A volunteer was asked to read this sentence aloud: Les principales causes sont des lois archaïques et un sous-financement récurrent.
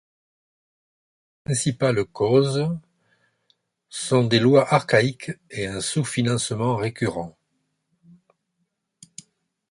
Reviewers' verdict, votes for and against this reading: rejected, 1, 2